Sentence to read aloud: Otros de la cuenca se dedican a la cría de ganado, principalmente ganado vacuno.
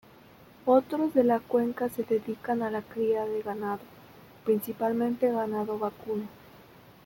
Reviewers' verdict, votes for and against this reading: accepted, 2, 0